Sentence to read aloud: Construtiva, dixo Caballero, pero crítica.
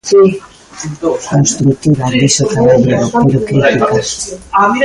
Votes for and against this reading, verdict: 0, 2, rejected